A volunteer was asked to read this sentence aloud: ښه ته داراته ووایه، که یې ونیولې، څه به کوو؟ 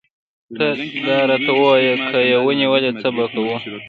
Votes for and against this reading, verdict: 1, 2, rejected